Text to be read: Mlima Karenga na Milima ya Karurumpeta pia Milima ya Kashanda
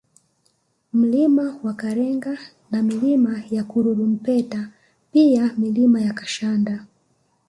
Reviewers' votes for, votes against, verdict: 2, 0, accepted